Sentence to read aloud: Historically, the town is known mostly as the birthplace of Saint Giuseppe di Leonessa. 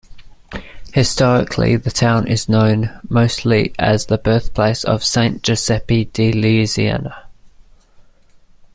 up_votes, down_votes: 0, 2